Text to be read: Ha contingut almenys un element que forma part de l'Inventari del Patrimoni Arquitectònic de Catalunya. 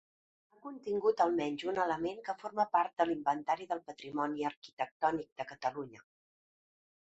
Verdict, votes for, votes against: rejected, 0, 2